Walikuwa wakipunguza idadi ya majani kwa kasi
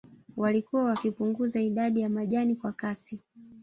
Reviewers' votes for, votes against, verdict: 0, 2, rejected